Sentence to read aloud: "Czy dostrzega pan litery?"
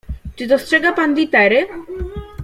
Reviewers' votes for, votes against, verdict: 2, 0, accepted